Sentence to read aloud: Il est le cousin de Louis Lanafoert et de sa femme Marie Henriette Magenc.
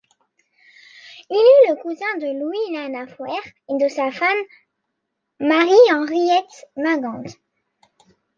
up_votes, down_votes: 1, 2